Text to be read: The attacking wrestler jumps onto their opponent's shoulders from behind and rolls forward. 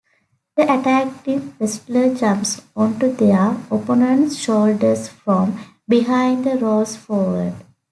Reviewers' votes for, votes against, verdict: 1, 2, rejected